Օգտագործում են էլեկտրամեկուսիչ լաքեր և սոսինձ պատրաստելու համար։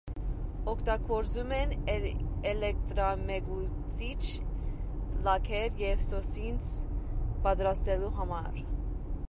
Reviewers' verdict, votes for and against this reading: rejected, 0, 2